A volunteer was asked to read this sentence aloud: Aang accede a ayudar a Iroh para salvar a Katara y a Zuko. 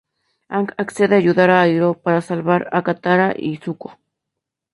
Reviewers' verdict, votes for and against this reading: rejected, 0, 4